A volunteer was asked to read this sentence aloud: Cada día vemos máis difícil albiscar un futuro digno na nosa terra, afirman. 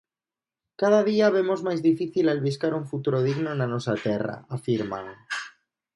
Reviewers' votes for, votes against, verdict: 2, 0, accepted